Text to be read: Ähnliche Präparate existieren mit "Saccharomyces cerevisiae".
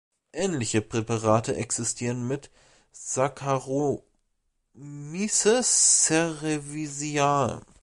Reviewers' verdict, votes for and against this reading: rejected, 0, 2